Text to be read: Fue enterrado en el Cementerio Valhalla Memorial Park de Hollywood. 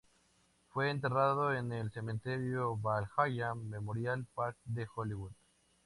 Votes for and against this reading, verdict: 2, 0, accepted